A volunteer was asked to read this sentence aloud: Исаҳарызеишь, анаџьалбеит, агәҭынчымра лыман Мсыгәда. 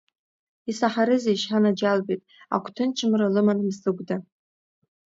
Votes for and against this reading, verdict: 2, 0, accepted